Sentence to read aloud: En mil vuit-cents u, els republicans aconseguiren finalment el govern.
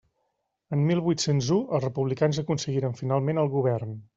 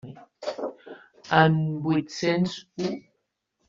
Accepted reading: first